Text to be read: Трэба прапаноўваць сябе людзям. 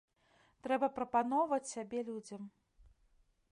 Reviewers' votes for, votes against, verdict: 1, 2, rejected